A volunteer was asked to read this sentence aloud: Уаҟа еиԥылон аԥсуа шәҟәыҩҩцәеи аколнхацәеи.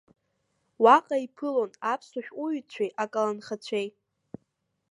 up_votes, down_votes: 1, 2